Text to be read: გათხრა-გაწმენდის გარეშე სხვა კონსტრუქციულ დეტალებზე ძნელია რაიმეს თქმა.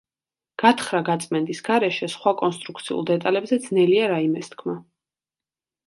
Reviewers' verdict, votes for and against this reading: accepted, 2, 0